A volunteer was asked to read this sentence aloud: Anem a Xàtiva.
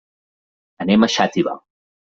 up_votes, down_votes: 3, 0